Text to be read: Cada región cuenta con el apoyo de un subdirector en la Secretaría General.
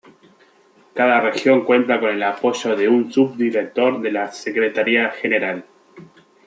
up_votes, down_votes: 2, 1